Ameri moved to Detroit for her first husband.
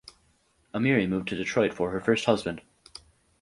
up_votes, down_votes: 4, 0